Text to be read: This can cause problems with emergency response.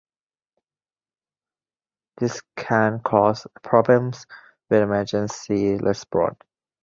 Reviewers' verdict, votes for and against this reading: rejected, 1, 2